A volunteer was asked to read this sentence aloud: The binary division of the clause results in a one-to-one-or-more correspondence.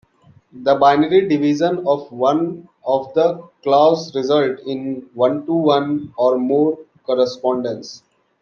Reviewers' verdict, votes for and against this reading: rejected, 0, 2